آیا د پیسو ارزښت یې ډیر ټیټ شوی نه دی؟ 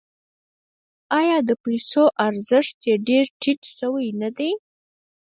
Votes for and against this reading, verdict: 4, 2, accepted